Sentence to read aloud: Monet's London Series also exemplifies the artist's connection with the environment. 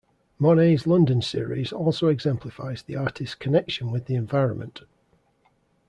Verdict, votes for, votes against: accepted, 2, 0